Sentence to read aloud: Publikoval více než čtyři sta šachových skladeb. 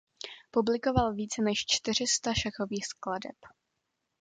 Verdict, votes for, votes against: accepted, 2, 0